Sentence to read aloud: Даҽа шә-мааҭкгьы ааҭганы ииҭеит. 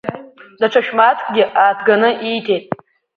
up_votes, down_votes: 2, 1